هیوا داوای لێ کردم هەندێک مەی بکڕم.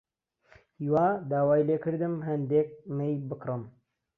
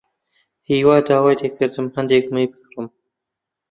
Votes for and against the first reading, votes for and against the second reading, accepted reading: 2, 0, 0, 2, first